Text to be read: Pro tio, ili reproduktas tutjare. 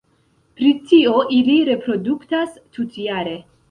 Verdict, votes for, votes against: rejected, 1, 2